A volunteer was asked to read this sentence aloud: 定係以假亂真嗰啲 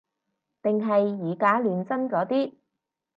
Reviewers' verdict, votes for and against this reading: accepted, 2, 0